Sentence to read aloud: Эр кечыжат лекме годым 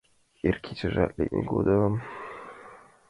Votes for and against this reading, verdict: 2, 1, accepted